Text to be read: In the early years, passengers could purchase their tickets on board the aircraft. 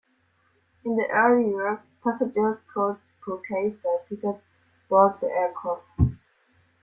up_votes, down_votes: 0, 2